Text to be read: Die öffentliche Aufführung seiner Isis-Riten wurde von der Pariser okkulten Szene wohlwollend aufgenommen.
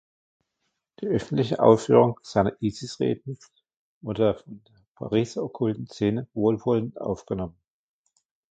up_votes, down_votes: 0, 2